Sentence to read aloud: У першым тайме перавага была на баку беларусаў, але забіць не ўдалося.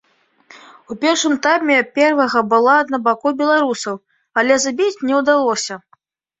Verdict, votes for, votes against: rejected, 1, 2